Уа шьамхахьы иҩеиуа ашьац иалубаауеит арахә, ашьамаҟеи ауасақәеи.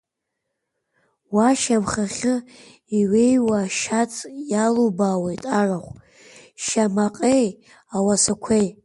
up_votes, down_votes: 2, 1